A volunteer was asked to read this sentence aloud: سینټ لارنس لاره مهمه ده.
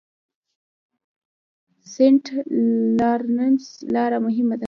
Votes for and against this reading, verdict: 1, 2, rejected